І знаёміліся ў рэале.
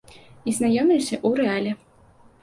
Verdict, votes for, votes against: accepted, 2, 0